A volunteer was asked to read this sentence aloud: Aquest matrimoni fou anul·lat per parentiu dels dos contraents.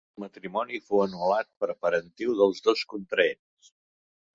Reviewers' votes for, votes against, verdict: 0, 2, rejected